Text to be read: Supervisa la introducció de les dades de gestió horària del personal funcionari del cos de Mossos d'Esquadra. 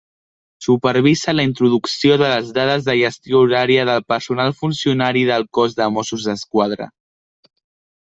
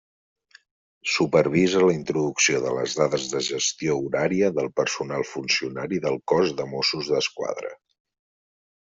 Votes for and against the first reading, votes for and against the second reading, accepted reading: 1, 2, 3, 0, second